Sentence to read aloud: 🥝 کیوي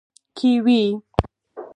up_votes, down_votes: 4, 2